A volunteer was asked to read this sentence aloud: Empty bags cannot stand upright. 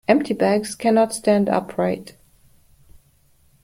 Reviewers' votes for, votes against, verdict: 2, 1, accepted